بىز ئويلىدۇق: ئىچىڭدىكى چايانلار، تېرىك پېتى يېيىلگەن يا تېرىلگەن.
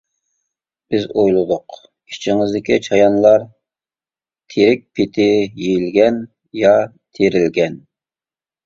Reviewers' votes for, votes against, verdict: 0, 2, rejected